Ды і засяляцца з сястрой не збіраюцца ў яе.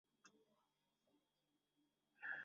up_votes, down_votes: 0, 2